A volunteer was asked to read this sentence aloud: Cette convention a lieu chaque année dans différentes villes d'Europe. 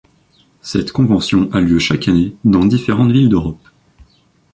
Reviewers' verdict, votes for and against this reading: accepted, 2, 1